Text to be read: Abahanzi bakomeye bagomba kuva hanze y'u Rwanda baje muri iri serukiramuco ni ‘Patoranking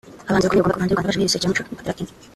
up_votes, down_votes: 0, 2